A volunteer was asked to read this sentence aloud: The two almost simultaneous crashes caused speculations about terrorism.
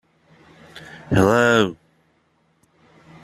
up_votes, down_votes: 0, 2